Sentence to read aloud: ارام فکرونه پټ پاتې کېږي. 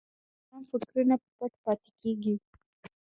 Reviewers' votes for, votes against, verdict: 2, 1, accepted